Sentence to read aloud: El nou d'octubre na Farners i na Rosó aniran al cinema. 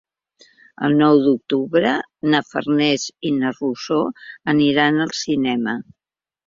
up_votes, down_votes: 3, 0